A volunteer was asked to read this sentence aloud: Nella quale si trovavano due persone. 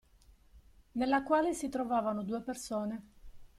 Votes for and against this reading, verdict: 2, 0, accepted